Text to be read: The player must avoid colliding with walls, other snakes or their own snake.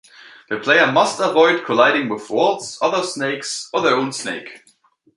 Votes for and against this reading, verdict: 2, 0, accepted